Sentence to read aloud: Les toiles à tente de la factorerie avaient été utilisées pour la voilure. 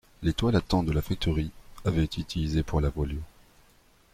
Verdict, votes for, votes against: rejected, 0, 2